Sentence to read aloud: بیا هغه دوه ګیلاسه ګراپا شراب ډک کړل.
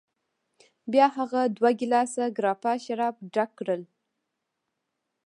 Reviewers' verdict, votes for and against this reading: accepted, 3, 1